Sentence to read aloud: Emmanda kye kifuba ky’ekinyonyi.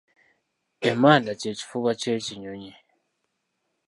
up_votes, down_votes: 2, 0